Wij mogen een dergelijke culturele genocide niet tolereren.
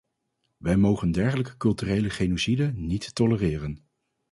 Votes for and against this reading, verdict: 2, 2, rejected